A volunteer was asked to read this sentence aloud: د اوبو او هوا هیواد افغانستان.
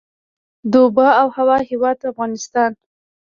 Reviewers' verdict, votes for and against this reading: accepted, 2, 1